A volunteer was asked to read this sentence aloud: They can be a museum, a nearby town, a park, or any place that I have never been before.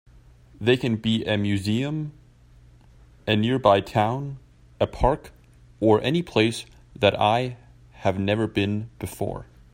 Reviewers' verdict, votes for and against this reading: accepted, 2, 0